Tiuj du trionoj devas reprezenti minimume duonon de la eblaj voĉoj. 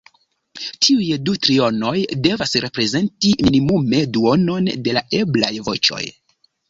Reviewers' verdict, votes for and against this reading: rejected, 1, 2